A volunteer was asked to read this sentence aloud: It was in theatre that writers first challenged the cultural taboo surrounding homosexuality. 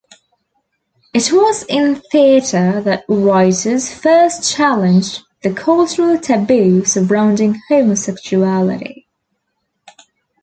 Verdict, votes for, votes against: accepted, 2, 0